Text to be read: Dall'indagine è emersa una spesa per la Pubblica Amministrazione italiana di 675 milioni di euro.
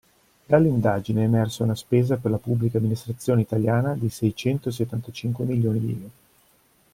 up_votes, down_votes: 0, 2